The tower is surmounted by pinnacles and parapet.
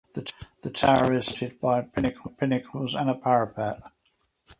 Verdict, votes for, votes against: rejected, 0, 4